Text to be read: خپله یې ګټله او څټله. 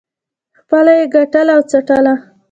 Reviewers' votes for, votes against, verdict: 2, 1, accepted